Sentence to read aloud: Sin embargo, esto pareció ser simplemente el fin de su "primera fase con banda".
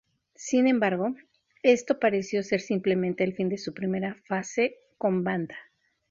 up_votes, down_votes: 0, 2